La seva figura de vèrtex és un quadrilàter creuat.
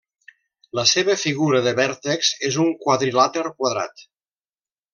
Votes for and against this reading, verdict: 0, 2, rejected